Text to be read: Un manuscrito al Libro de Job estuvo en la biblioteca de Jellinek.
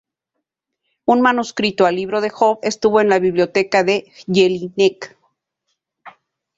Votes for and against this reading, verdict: 0, 2, rejected